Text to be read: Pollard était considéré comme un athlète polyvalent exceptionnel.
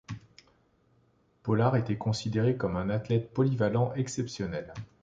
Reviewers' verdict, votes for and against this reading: accepted, 2, 1